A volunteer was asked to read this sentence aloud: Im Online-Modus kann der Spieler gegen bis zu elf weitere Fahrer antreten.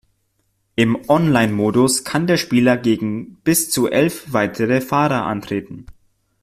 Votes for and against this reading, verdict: 2, 0, accepted